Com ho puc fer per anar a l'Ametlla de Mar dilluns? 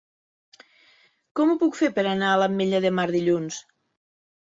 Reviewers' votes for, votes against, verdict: 8, 0, accepted